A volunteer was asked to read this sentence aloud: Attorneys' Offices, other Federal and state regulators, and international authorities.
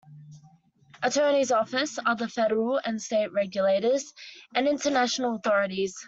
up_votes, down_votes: 2, 1